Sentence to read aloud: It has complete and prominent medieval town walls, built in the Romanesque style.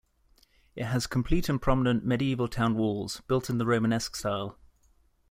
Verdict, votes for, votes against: accepted, 2, 0